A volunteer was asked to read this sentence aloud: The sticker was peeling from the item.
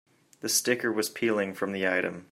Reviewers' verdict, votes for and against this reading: accepted, 2, 0